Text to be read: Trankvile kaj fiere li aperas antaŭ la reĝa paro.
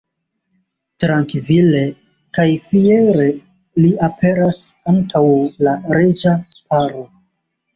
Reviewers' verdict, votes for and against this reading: accepted, 3, 2